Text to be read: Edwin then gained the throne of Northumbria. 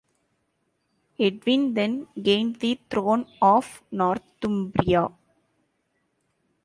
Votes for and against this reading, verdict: 2, 0, accepted